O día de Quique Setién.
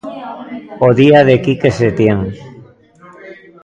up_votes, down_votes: 1, 2